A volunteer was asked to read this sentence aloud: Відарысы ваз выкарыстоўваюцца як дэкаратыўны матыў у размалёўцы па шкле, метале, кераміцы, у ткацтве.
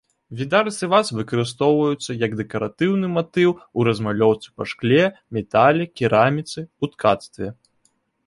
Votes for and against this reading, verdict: 2, 0, accepted